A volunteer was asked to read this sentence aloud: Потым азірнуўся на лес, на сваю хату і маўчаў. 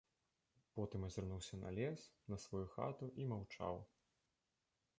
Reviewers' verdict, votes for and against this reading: rejected, 1, 2